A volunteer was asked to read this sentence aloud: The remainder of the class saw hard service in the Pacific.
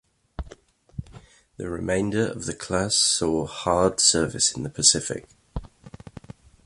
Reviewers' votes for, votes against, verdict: 2, 1, accepted